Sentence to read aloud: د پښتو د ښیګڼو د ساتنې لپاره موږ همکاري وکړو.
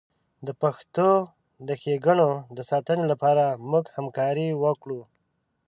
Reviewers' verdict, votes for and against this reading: accepted, 2, 0